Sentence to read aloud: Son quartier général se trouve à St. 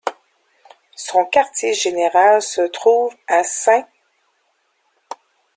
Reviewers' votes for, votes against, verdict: 2, 0, accepted